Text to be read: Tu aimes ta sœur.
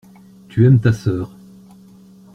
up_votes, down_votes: 2, 0